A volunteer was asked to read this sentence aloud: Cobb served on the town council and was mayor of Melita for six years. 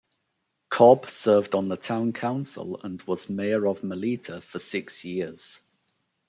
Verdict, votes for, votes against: accepted, 2, 0